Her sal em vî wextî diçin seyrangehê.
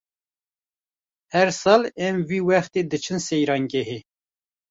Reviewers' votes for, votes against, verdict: 2, 0, accepted